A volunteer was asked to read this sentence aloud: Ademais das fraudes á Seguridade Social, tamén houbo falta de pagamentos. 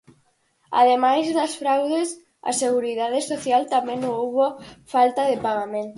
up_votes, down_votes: 0, 4